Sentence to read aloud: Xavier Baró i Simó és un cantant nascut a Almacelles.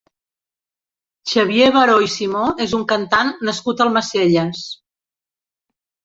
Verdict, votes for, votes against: rejected, 1, 2